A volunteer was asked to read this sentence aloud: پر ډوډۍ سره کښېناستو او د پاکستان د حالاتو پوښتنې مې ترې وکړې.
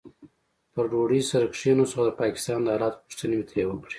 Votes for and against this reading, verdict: 2, 0, accepted